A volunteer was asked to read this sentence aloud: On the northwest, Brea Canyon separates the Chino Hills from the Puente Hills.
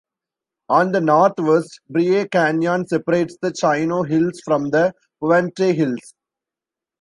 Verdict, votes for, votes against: rejected, 1, 2